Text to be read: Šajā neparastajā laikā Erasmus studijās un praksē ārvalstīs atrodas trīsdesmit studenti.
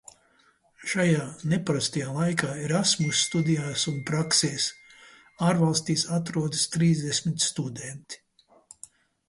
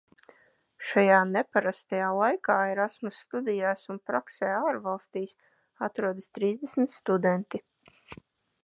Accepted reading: second